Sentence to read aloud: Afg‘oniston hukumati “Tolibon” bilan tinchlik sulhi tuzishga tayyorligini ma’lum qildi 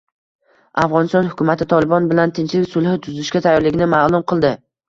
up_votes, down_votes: 2, 0